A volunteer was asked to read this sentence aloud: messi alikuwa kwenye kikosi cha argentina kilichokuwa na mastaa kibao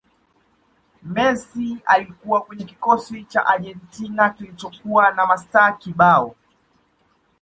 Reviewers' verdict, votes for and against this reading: accepted, 2, 1